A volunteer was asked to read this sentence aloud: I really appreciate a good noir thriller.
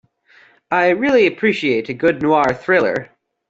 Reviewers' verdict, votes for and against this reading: accepted, 2, 0